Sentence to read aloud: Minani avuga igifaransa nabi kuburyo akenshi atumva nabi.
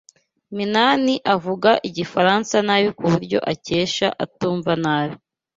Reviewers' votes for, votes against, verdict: 1, 2, rejected